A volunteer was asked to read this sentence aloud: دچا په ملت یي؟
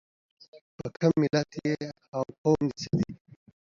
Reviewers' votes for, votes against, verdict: 2, 1, accepted